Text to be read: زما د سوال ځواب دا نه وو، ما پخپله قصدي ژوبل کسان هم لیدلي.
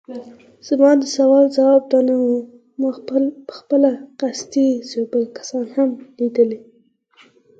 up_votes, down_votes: 0, 6